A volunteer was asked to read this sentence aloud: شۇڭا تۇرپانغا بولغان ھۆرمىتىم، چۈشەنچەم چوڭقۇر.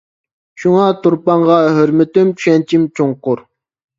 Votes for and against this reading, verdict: 0, 2, rejected